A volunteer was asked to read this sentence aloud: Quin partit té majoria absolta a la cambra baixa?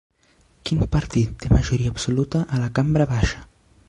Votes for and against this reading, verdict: 2, 0, accepted